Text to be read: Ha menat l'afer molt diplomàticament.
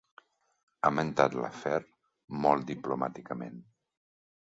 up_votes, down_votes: 1, 2